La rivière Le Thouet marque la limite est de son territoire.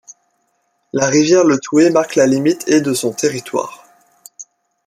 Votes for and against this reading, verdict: 0, 2, rejected